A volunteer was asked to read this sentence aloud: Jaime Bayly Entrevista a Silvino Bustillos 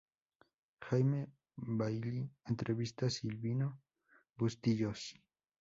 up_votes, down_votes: 2, 2